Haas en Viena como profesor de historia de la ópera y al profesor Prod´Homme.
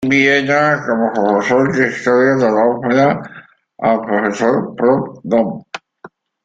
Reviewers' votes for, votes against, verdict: 0, 2, rejected